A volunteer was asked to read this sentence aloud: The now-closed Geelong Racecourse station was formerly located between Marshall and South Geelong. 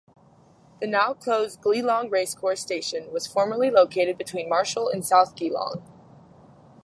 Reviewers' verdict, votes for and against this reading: rejected, 2, 2